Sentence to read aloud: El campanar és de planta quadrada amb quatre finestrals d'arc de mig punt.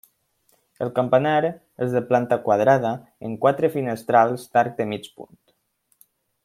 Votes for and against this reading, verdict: 1, 2, rejected